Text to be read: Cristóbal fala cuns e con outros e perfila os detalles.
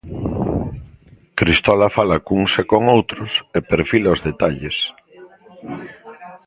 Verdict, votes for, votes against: rejected, 1, 2